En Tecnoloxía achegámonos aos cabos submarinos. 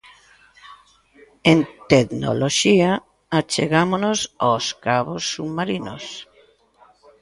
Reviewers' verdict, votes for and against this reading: rejected, 0, 2